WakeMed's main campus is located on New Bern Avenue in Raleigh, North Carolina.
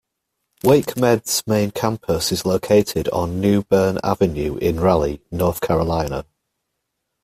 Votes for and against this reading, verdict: 2, 0, accepted